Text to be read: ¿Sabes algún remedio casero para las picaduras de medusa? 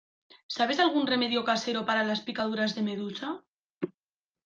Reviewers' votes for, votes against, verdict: 2, 0, accepted